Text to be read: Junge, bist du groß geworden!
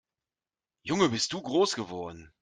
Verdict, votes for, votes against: accepted, 2, 0